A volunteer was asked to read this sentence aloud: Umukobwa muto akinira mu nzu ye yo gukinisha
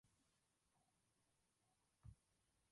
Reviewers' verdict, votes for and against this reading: rejected, 0, 2